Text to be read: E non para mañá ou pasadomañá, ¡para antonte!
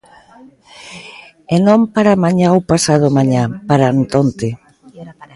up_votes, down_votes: 2, 0